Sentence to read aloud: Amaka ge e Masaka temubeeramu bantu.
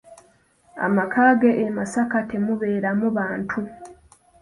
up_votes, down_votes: 2, 0